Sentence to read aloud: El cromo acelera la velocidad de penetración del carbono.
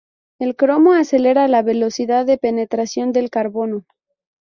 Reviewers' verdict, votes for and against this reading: rejected, 0, 2